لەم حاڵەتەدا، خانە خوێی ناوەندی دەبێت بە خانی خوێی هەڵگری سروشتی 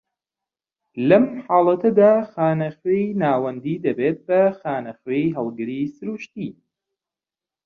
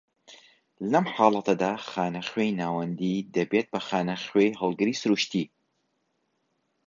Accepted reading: second